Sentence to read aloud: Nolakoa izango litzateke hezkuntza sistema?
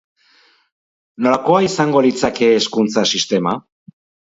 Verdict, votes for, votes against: rejected, 2, 4